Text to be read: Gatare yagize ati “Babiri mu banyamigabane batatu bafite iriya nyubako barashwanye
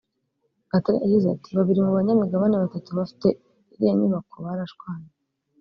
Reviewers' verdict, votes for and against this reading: rejected, 0, 2